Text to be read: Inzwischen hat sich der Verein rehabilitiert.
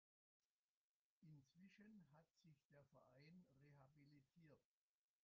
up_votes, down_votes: 0, 2